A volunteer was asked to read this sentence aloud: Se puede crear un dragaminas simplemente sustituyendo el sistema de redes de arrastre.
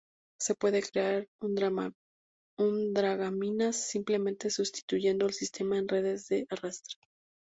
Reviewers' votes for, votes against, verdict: 0, 2, rejected